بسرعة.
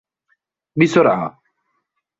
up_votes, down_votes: 1, 2